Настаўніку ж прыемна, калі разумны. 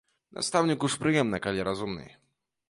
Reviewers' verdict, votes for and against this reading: accepted, 2, 0